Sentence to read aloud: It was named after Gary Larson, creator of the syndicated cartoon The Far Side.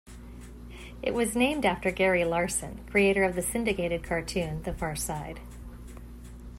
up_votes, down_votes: 2, 0